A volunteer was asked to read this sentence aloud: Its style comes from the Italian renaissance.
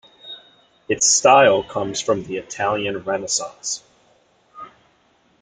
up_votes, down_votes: 2, 0